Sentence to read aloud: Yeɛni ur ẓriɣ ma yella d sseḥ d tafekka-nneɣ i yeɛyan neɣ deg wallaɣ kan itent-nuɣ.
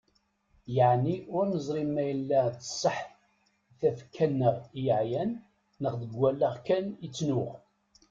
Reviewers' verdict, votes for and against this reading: rejected, 1, 2